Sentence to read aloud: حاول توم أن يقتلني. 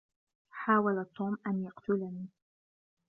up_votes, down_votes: 1, 2